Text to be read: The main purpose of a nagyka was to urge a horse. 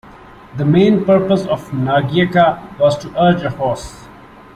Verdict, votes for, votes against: rejected, 0, 2